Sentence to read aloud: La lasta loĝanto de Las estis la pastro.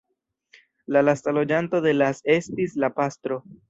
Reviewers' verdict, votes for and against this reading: rejected, 1, 2